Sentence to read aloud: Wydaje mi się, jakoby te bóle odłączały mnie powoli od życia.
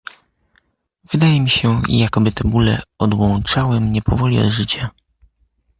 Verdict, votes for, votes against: accepted, 2, 0